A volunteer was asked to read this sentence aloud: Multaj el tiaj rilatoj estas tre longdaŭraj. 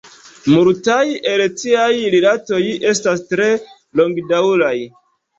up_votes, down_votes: 0, 2